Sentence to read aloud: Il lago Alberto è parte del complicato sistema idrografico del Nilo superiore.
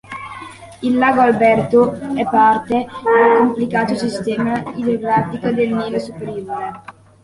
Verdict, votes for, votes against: accepted, 2, 0